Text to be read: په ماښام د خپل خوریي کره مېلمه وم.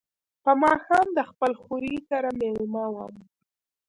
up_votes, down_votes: 1, 2